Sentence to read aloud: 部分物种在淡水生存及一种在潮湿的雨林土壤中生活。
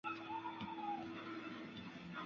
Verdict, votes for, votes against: rejected, 0, 2